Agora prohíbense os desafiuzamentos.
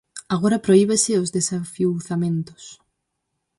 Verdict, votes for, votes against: rejected, 0, 4